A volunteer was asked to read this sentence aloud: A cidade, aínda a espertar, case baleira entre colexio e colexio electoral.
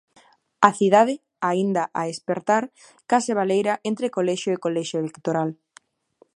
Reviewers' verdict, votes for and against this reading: accepted, 2, 0